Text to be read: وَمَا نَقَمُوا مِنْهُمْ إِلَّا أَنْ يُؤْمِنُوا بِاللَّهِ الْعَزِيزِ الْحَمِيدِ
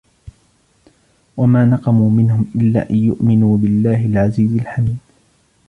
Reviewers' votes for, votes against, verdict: 1, 2, rejected